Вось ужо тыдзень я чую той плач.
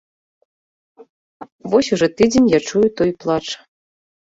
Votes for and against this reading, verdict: 2, 0, accepted